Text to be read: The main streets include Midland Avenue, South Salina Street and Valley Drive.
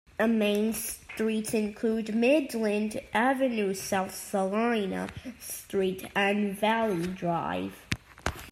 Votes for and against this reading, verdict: 2, 1, accepted